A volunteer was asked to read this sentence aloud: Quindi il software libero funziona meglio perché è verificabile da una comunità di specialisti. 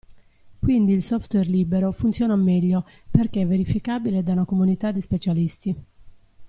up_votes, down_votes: 2, 0